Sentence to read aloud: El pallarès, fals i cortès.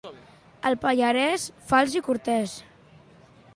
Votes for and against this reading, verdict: 2, 1, accepted